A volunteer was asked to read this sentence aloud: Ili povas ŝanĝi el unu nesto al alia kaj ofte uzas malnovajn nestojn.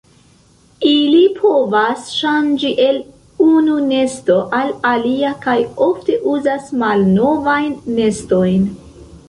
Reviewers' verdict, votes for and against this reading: accepted, 2, 1